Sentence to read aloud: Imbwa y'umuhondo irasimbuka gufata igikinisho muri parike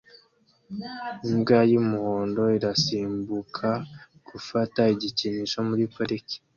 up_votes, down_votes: 2, 0